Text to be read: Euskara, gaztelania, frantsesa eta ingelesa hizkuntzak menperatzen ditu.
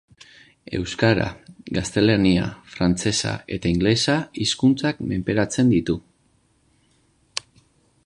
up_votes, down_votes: 2, 0